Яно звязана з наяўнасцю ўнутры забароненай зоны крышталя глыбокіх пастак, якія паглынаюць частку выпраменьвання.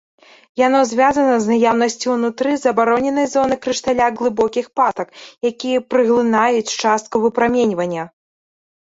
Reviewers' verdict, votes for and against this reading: rejected, 0, 2